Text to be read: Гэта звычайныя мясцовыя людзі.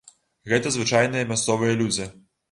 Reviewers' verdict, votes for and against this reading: accepted, 2, 0